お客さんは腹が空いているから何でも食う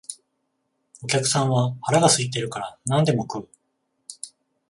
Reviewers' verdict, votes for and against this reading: accepted, 14, 0